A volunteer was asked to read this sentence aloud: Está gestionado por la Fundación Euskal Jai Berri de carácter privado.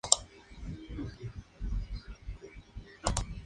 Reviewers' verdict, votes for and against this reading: rejected, 2, 2